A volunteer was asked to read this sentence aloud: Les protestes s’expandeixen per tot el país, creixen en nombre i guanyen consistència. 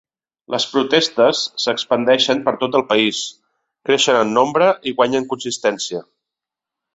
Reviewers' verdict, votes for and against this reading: accepted, 3, 0